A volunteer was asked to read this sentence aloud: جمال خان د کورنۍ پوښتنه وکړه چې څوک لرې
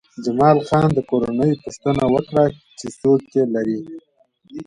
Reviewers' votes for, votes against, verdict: 2, 0, accepted